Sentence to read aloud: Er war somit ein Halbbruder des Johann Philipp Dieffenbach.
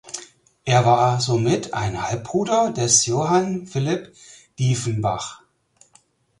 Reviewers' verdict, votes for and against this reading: accepted, 4, 0